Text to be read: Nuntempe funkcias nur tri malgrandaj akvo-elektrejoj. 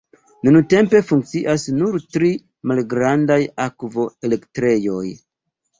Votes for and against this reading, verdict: 2, 0, accepted